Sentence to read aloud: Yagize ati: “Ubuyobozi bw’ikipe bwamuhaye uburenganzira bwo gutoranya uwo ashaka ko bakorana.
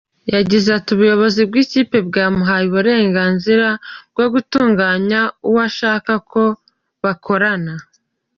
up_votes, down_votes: 1, 2